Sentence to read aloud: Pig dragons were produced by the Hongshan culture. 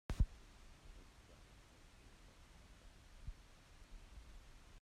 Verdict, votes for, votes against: rejected, 0, 2